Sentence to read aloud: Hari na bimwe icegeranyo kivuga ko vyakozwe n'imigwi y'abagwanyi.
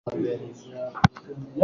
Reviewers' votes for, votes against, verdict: 0, 2, rejected